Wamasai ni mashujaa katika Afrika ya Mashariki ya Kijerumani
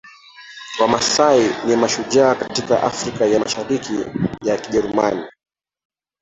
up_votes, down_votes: 0, 2